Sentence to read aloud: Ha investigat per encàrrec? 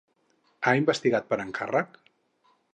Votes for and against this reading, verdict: 4, 0, accepted